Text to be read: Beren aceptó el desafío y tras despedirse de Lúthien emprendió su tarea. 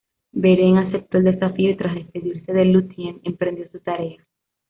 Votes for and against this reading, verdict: 0, 2, rejected